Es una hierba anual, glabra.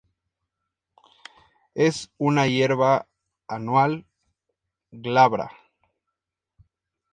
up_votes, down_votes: 2, 0